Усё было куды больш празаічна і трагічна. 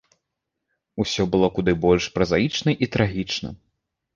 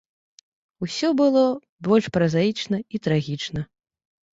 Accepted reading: first